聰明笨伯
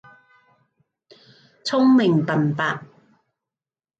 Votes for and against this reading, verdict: 2, 0, accepted